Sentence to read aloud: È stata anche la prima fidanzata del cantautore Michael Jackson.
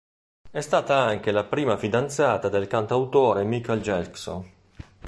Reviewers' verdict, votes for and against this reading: rejected, 0, 2